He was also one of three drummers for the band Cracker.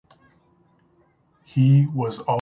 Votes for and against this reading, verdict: 0, 2, rejected